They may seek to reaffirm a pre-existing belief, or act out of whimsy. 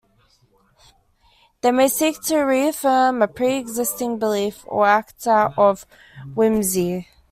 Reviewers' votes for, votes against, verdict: 2, 0, accepted